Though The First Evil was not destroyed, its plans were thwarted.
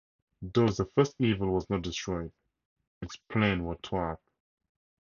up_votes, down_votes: 0, 2